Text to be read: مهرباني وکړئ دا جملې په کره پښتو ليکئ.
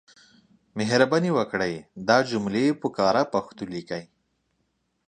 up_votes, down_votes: 2, 0